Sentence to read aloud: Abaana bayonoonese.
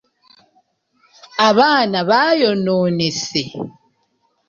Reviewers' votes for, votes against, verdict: 1, 2, rejected